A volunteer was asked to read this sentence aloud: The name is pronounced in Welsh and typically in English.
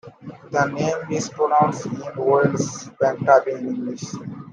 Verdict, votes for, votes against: rejected, 0, 2